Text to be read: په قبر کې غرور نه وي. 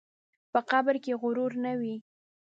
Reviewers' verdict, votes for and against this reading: accepted, 2, 0